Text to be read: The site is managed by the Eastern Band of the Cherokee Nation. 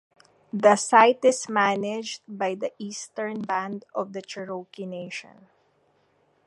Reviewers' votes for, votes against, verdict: 2, 0, accepted